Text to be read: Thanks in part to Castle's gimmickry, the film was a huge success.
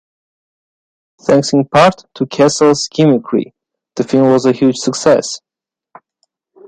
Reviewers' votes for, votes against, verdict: 1, 2, rejected